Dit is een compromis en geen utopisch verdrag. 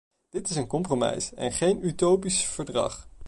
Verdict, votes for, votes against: rejected, 0, 2